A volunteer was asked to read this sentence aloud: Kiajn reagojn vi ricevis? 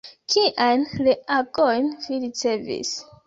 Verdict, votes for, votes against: rejected, 1, 2